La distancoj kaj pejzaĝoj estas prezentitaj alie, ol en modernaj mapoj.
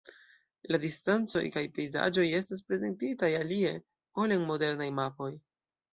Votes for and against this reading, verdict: 2, 0, accepted